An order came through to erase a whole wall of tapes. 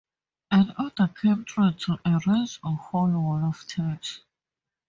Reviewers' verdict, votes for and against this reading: rejected, 0, 2